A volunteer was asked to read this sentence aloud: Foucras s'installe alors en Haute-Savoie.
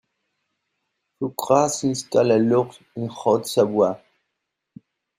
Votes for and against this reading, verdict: 2, 0, accepted